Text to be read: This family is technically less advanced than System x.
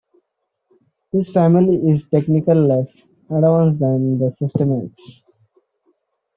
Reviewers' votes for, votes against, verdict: 0, 2, rejected